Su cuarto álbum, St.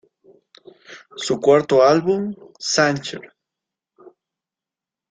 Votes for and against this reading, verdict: 1, 2, rejected